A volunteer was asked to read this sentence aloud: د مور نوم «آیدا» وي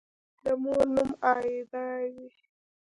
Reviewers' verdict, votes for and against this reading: accepted, 2, 0